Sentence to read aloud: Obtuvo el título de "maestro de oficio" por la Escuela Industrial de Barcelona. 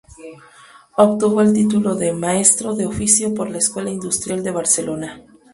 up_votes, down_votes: 2, 0